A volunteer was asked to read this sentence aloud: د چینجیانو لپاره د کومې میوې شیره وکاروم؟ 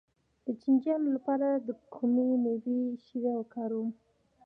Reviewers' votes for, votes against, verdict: 0, 2, rejected